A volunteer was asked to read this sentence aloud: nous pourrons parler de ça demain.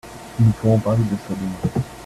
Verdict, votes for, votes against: rejected, 0, 2